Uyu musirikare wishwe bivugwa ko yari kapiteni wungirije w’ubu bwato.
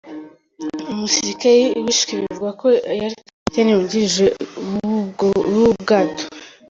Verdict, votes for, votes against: rejected, 2, 3